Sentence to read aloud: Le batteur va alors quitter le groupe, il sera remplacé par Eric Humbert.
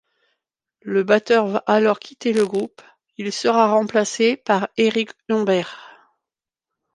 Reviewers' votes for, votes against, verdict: 2, 0, accepted